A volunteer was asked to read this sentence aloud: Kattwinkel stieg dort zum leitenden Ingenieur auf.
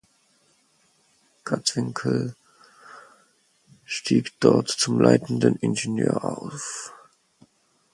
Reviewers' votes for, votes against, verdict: 2, 4, rejected